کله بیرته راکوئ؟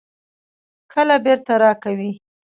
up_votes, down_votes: 1, 2